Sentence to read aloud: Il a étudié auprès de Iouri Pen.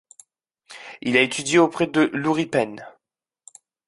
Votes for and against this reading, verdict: 0, 2, rejected